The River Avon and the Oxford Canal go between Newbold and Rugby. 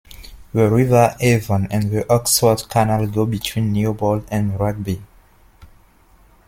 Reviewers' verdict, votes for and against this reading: accepted, 2, 0